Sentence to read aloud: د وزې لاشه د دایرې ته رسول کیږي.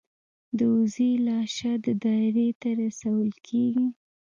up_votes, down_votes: 0, 2